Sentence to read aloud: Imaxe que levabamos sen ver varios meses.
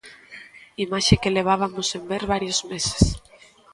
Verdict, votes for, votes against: rejected, 1, 2